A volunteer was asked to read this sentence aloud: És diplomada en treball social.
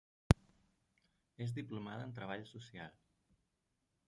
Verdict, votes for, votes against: rejected, 1, 2